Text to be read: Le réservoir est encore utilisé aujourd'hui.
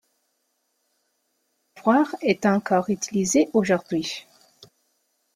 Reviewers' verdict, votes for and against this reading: rejected, 0, 2